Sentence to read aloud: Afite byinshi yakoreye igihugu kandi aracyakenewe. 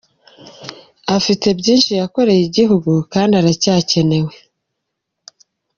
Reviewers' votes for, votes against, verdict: 0, 2, rejected